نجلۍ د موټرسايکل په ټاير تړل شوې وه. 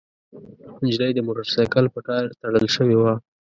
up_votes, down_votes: 1, 2